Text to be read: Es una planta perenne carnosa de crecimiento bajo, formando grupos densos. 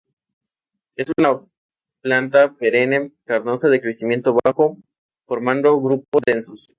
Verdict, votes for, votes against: accepted, 2, 0